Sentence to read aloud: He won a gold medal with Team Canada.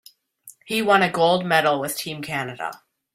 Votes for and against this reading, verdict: 2, 0, accepted